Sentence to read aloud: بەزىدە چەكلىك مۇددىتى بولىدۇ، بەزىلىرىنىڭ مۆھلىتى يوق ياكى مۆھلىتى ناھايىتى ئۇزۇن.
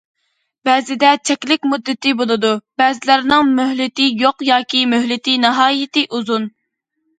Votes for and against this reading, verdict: 0, 2, rejected